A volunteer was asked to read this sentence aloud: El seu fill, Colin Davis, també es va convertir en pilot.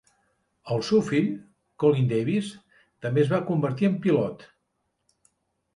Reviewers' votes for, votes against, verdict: 2, 0, accepted